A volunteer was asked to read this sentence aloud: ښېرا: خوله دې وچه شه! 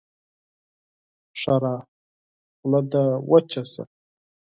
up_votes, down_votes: 4, 0